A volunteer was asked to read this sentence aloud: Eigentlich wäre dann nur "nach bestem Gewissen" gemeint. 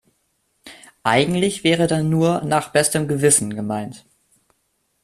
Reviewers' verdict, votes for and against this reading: accepted, 2, 0